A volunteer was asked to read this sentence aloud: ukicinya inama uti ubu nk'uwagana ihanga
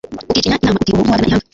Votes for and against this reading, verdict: 1, 2, rejected